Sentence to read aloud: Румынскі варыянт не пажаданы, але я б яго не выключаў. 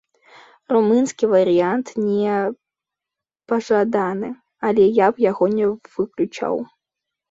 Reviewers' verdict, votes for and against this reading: rejected, 1, 2